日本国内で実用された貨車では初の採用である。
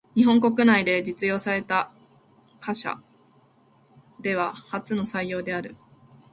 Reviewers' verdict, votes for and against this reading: accepted, 2, 0